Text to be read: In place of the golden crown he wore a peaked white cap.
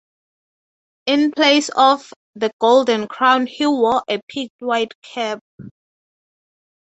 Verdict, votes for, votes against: accepted, 6, 0